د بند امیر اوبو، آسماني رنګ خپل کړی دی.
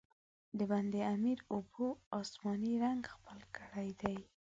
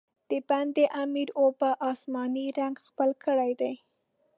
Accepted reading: first